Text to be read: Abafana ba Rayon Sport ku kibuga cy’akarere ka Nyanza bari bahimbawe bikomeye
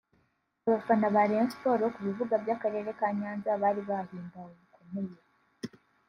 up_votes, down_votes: 1, 2